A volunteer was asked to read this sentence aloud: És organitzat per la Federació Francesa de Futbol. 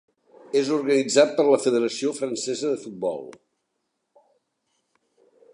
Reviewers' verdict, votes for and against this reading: accepted, 3, 0